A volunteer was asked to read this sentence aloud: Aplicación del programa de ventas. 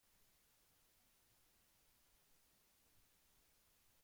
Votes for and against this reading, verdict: 0, 2, rejected